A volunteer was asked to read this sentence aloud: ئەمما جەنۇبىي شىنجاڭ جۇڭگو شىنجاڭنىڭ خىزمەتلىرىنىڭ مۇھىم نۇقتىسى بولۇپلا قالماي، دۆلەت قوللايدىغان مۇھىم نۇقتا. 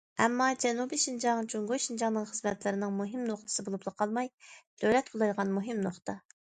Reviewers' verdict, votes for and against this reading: accepted, 2, 0